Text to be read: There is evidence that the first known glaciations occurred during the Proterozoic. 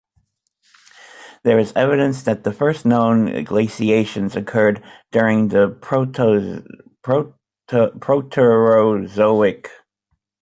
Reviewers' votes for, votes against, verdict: 2, 1, accepted